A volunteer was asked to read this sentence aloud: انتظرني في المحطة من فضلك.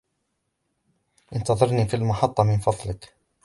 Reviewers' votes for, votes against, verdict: 2, 1, accepted